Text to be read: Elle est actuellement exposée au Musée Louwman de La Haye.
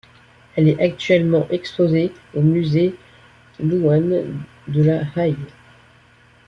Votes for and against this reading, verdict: 1, 2, rejected